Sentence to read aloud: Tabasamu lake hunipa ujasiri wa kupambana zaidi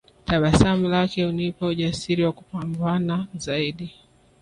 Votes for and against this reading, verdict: 3, 1, accepted